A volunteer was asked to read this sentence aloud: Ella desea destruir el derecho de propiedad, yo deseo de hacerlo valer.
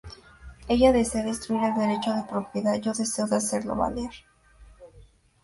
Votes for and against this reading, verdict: 2, 0, accepted